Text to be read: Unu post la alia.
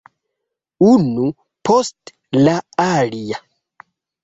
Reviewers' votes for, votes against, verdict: 2, 3, rejected